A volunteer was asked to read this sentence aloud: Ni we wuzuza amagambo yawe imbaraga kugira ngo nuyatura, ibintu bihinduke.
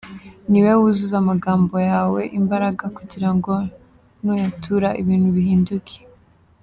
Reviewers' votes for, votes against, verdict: 2, 0, accepted